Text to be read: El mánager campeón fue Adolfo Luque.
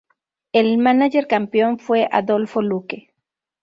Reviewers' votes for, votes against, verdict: 2, 0, accepted